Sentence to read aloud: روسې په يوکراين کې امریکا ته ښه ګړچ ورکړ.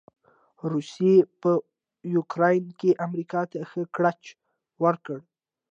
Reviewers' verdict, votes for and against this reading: accepted, 2, 0